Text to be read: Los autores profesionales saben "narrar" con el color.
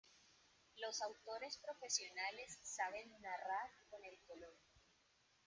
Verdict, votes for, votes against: accepted, 2, 1